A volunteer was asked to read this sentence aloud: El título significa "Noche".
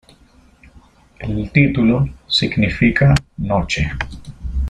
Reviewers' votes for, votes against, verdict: 2, 0, accepted